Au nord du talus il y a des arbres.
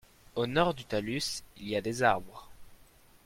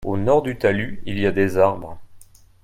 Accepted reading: second